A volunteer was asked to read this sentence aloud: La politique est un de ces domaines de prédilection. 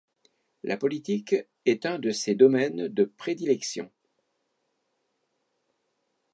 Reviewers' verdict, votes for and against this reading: accepted, 2, 0